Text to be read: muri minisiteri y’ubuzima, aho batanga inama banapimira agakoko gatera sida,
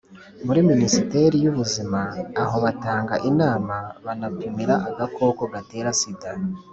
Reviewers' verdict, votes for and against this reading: accepted, 2, 0